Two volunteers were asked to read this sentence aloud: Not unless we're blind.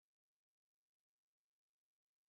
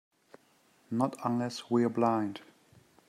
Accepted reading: second